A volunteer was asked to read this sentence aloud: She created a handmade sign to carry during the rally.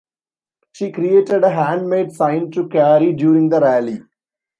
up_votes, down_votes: 2, 0